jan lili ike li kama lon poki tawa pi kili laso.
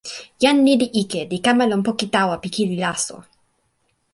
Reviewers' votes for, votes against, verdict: 2, 0, accepted